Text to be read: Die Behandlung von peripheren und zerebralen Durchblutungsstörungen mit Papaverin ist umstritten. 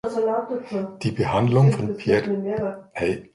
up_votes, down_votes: 0, 2